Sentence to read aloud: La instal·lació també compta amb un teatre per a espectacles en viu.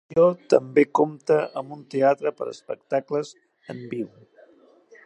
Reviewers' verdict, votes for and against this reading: rejected, 1, 2